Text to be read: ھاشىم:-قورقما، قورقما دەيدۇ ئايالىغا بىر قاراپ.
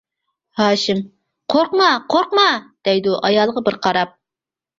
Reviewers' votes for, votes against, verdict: 2, 0, accepted